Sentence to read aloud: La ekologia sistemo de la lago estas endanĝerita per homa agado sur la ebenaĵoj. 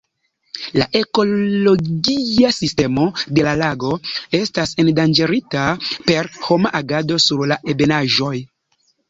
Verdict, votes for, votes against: rejected, 1, 2